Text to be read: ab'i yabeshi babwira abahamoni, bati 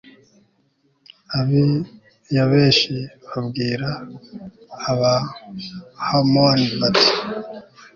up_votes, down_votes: 3, 0